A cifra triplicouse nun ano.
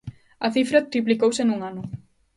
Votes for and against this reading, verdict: 2, 0, accepted